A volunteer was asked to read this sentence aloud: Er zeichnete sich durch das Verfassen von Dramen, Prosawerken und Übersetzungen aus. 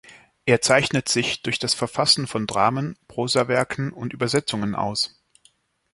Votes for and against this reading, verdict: 1, 2, rejected